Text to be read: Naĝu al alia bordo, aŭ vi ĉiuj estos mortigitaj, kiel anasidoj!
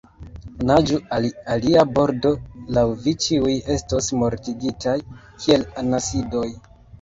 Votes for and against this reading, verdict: 3, 0, accepted